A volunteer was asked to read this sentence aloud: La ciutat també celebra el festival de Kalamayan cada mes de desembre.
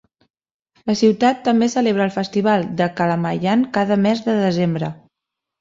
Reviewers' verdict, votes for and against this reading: accepted, 5, 0